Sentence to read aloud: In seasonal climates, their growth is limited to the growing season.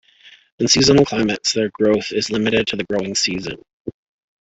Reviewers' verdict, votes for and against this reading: accepted, 2, 1